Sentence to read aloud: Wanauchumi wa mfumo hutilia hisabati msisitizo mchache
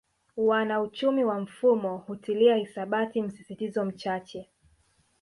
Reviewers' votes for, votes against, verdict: 3, 0, accepted